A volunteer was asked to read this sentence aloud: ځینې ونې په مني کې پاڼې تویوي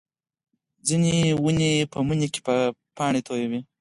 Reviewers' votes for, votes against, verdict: 4, 0, accepted